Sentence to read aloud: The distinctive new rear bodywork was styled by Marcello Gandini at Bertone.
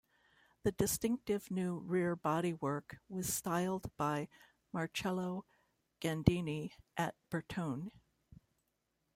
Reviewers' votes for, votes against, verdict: 2, 1, accepted